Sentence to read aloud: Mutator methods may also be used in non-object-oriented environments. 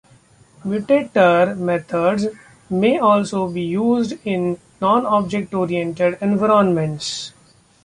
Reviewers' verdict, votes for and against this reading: accepted, 2, 1